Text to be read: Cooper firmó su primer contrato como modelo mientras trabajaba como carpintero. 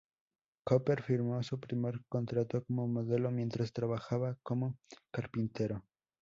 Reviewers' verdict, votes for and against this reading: rejected, 0, 2